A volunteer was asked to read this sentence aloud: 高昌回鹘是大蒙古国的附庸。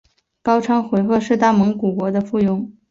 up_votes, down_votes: 2, 0